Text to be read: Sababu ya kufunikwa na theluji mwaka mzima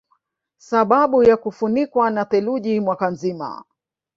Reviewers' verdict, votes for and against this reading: rejected, 1, 2